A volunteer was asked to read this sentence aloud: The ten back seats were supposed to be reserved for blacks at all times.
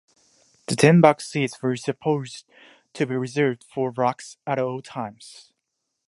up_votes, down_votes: 1, 2